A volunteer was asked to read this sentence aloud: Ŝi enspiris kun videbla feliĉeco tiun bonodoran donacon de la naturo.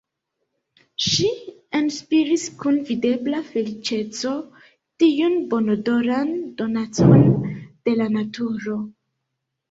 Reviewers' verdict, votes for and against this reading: accepted, 3, 1